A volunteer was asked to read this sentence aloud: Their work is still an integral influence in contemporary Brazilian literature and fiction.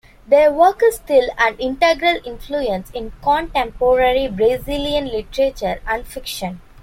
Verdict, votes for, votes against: accepted, 2, 1